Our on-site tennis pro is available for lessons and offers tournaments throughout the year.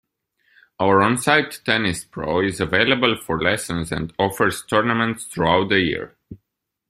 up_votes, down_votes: 2, 0